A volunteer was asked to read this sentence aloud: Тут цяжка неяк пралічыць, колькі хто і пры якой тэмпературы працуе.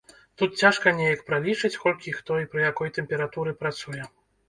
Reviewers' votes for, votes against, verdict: 0, 2, rejected